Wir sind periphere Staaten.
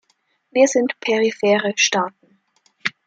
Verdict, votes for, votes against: accepted, 2, 1